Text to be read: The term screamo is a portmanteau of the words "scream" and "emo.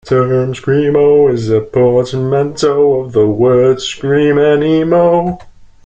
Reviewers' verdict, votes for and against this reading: accepted, 2, 0